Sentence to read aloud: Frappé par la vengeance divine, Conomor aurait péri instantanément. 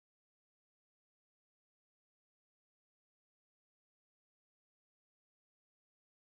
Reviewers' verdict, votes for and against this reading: rejected, 0, 2